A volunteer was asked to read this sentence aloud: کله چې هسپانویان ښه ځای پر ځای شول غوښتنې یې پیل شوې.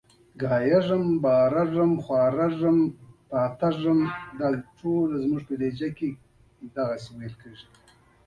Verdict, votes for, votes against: rejected, 0, 2